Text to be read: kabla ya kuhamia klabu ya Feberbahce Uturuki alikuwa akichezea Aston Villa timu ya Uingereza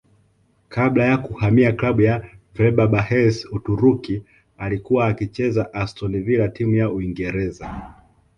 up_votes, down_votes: 2, 0